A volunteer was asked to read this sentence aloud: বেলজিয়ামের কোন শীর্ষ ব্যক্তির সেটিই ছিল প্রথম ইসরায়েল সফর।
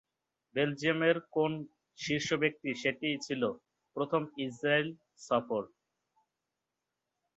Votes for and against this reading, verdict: 0, 3, rejected